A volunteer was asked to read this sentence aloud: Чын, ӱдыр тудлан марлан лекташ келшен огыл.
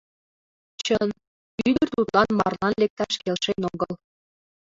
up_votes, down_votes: 0, 2